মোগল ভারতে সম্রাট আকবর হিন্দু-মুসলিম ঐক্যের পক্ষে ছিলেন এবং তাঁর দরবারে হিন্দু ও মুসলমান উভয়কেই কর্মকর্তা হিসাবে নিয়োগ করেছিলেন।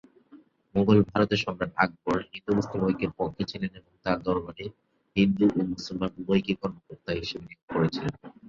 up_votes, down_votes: 7, 3